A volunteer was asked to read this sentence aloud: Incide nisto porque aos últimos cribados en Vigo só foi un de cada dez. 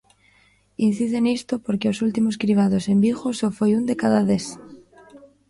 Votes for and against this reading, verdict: 1, 2, rejected